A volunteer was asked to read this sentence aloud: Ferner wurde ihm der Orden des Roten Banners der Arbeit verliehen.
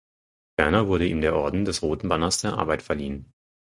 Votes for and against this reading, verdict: 0, 4, rejected